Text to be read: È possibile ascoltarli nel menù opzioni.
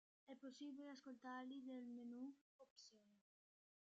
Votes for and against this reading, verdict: 0, 2, rejected